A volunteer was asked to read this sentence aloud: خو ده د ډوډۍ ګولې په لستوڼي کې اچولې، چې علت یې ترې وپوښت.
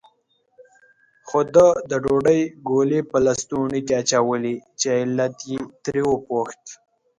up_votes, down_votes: 2, 0